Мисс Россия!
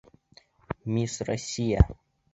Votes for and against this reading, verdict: 2, 0, accepted